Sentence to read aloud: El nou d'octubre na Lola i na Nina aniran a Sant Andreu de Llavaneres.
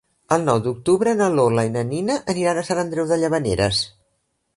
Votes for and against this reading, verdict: 3, 0, accepted